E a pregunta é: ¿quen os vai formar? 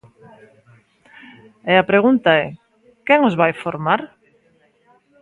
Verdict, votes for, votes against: rejected, 1, 2